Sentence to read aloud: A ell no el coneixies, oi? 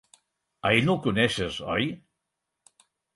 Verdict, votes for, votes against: rejected, 2, 4